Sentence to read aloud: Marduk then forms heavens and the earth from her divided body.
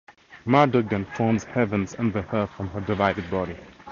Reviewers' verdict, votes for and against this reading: accepted, 4, 0